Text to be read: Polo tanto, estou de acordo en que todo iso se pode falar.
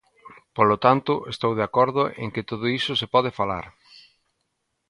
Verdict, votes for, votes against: accepted, 2, 0